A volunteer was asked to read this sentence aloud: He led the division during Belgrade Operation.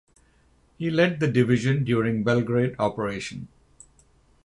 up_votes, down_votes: 6, 0